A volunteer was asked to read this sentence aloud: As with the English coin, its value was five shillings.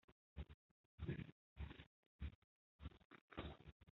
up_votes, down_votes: 0, 3